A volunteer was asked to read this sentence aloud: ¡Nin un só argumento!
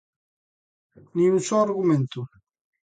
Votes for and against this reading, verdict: 2, 0, accepted